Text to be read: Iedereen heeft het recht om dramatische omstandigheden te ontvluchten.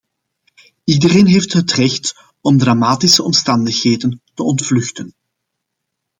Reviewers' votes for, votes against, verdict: 2, 0, accepted